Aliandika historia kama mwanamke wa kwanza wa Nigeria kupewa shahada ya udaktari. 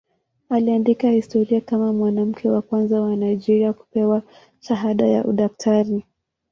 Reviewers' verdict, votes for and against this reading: accepted, 2, 0